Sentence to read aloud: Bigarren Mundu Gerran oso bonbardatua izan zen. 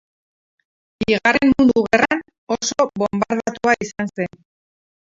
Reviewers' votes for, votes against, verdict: 0, 4, rejected